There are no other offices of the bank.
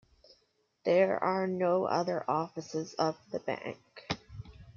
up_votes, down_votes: 2, 1